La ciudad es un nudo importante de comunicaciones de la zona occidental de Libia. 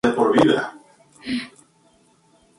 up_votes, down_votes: 0, 4